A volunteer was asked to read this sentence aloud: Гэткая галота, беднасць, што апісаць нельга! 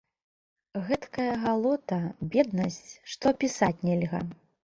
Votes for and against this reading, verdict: 2, 0, accepted